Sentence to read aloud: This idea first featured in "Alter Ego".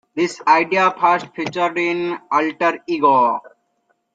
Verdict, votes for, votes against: rejected, 1, 2